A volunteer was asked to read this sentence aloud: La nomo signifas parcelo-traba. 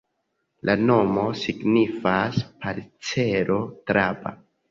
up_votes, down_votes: 1, 2